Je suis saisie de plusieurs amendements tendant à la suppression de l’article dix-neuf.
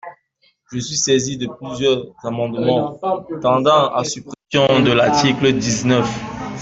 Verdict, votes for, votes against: rejected, 0, 2